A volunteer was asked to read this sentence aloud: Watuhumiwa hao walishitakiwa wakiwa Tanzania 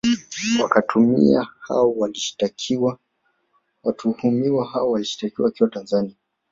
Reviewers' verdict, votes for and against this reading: rejected, 0, 2